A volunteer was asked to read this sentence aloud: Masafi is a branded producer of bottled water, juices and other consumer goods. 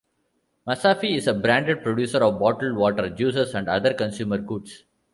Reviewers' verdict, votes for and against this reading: accepted, 2, 0